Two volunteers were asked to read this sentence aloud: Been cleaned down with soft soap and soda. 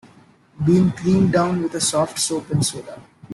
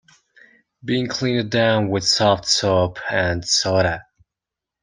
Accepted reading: second